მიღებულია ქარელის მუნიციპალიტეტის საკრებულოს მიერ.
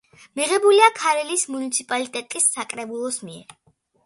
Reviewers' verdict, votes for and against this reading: accepted, 2, 0